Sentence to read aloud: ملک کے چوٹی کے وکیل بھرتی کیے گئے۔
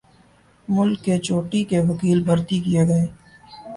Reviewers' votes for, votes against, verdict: 3, 0, accepted